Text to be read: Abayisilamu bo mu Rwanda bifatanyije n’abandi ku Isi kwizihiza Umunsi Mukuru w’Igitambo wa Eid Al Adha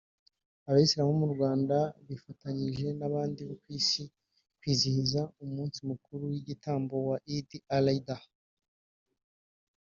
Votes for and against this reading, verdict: 1, 2, rejected